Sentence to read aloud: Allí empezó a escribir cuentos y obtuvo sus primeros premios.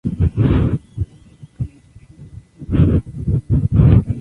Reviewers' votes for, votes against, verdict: 0, 2, rejected